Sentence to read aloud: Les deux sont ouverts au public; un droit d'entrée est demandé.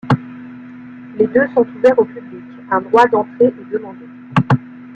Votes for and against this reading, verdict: 1, 2, rejected